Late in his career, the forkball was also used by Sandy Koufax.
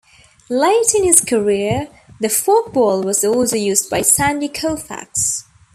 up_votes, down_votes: 2, 0